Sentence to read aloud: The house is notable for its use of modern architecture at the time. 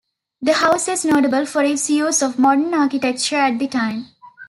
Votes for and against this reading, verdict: 0, 2, rejected